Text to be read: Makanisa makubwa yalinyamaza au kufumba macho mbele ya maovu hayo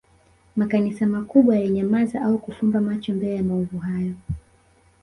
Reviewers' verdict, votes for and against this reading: rejected, 1, 2